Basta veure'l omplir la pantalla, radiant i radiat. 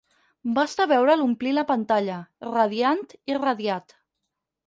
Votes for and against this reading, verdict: 4, 0, accepted